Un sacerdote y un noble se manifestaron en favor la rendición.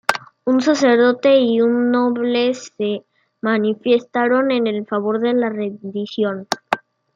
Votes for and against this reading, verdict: 1, 2, rejected